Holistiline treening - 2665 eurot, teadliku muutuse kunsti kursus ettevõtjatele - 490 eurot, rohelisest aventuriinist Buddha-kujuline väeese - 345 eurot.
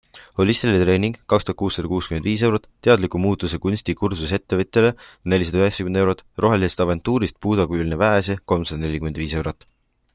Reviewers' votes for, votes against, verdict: 0, 2, rejected